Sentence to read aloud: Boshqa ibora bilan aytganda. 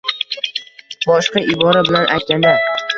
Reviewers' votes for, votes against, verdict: 1, 2, rejected